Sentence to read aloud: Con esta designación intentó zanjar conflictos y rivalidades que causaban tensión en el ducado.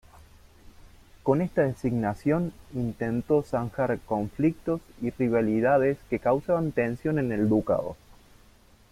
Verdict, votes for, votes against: accepted, 2, 0